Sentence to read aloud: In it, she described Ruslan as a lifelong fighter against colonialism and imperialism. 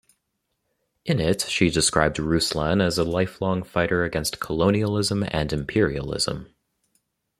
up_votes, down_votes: 2, 0